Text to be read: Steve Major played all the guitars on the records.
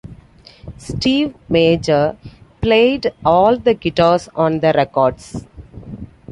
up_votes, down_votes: 2, 0